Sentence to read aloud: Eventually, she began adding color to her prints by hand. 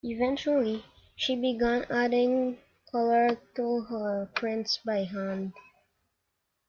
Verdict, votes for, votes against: accepted, 2, 0